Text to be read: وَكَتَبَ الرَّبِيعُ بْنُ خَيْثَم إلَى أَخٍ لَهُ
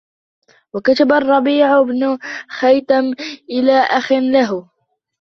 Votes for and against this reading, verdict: 1, 2, rejected